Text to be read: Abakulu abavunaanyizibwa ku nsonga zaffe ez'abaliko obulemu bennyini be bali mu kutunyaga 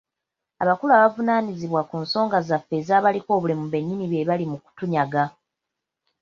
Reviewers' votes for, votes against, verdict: 0, 2, rejected